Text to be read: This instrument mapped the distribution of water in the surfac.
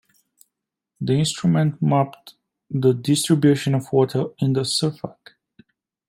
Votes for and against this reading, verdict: 0, 2, rejected